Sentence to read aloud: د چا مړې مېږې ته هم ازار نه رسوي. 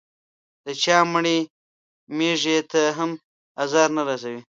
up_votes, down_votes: 2, 0